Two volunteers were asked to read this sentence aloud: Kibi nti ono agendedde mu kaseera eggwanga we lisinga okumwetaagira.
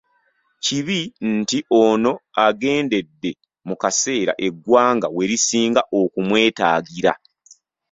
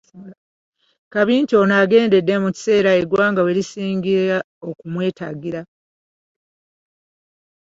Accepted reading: first